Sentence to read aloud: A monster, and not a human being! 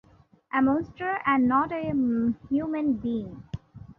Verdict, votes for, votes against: rejected, 0, 2